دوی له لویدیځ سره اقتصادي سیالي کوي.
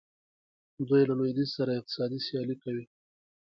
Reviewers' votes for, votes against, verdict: 3, 0, accepted